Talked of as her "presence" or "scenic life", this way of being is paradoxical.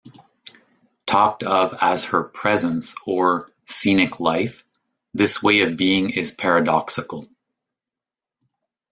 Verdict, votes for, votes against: accepted, 2, 0